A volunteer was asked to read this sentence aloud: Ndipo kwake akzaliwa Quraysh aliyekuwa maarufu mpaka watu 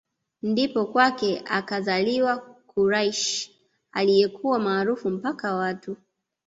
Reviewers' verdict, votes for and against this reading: accepted, 2, 1